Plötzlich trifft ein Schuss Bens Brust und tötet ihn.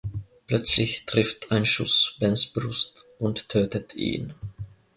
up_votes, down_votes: 2, 0